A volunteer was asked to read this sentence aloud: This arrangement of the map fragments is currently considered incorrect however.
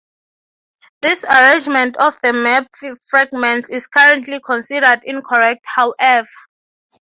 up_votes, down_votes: 3, 3